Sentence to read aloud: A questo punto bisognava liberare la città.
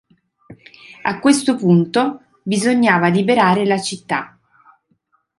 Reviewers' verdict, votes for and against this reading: accepted, 2, 0